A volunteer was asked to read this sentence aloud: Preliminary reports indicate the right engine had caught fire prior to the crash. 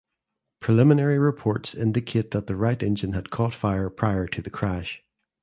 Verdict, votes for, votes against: rejected, 0, 2